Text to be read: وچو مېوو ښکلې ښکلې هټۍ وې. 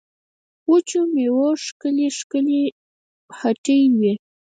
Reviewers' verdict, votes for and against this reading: rejected, 2, 4